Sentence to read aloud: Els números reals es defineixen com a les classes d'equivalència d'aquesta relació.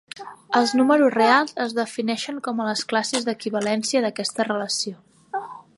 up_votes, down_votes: 2, 0